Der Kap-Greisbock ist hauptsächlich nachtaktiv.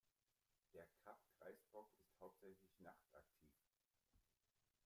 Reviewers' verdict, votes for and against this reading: rejected, 1, 2